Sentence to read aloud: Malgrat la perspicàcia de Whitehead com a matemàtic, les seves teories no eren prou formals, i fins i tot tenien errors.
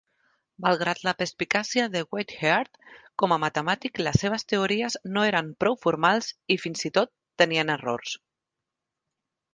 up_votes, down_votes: 2, 1